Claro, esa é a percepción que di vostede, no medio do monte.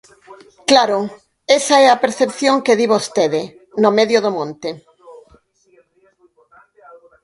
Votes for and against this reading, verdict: 0, 4, rejected